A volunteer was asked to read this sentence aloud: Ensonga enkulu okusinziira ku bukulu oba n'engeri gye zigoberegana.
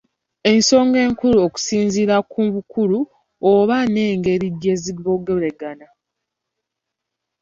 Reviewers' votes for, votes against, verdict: 2, 3, rejected